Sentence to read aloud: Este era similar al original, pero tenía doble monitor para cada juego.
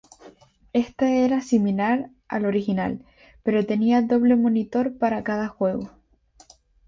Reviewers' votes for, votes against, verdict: 0, 2, rejected